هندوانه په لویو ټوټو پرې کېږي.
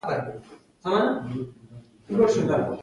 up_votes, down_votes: 2, 0